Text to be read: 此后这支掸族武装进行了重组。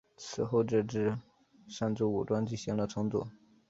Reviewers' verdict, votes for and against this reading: rejected, 1, 3